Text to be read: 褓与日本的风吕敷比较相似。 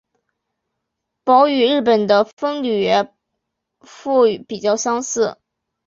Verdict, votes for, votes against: accepted, 2, 0